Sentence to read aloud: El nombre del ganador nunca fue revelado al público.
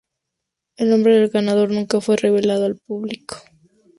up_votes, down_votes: 2, 0